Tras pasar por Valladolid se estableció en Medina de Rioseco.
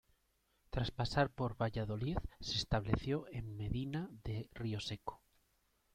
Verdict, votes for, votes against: accepted, 2, 0